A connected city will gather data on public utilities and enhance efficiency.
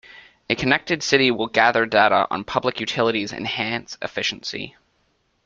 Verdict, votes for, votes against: rejected, 1, 2